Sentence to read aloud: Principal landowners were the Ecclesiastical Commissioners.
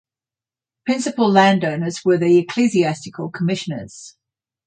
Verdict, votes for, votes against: accepted, 6, 0